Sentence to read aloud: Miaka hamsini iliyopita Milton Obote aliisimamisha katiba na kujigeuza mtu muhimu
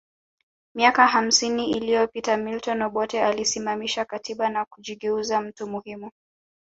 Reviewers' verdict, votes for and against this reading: accepted, 2, 0